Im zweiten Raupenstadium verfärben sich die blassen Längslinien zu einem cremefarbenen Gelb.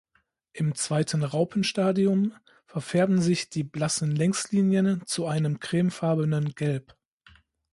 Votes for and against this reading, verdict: 2, 0, accepted